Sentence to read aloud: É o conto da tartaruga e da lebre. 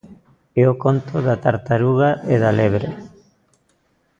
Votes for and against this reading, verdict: 2, 0, accepted